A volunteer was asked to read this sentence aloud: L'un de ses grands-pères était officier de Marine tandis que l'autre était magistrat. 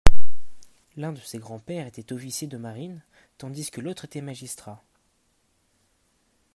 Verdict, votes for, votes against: rejected, 1, 2